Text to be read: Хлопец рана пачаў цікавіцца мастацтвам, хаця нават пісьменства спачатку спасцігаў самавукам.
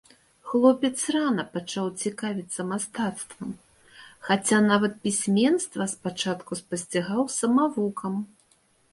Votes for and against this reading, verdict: 3, 0, accepted